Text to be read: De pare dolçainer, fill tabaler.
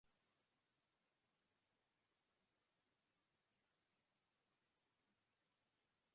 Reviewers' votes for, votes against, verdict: 0, 2, rejected